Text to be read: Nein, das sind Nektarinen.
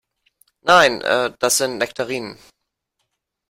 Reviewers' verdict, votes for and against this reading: rejected, 1, 2